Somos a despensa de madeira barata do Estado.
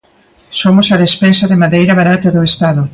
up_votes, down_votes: 2, 0